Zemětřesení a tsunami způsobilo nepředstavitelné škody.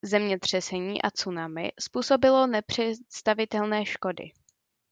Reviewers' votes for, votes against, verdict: 2, 1, accepted